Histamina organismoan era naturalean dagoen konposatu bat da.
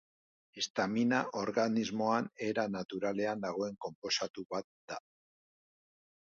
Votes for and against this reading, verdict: 3, 0, accepted